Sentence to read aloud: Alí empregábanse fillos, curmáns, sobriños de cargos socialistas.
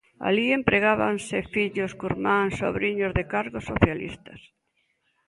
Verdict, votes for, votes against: accepted, 2, 0